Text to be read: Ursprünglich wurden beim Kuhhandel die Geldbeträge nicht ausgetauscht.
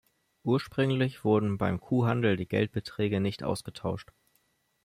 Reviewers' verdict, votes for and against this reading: accepted, 2, 0